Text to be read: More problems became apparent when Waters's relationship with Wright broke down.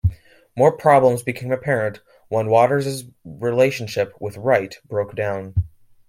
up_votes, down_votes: 2, 0